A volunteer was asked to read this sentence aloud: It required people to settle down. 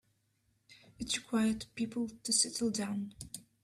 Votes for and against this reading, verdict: 3, 1, accepted